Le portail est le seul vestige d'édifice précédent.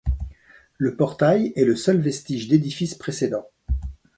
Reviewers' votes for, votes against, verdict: 2, 0, accepted